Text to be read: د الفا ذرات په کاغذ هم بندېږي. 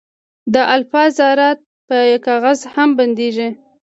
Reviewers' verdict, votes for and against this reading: accepted, 2, 0